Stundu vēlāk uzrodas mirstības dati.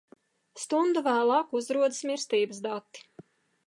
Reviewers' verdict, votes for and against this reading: accepted, 2, 0